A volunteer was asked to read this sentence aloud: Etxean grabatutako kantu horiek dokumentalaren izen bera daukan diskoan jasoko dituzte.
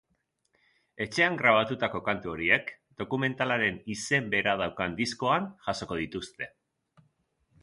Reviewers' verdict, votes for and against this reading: accepted, 7, 0